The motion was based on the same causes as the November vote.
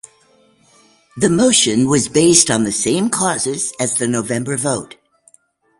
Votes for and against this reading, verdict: 2, 0, accepted